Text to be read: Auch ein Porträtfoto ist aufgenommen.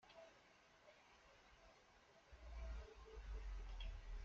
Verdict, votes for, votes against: rejected, 0, 2